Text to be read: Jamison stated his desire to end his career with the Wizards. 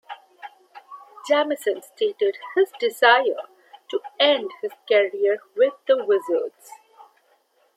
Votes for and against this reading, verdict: 0, 2, rejected